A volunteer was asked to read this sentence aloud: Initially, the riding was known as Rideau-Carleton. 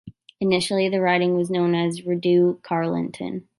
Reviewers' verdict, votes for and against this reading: rejected, 1, 2